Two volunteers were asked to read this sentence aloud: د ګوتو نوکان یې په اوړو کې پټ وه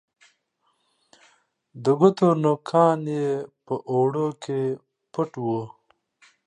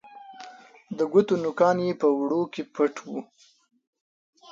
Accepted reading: first